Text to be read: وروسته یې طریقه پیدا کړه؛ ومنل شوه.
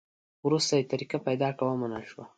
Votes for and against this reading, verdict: 2, 0, accepted